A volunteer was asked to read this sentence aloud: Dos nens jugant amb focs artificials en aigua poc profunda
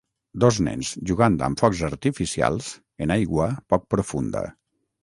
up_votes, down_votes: 6, 0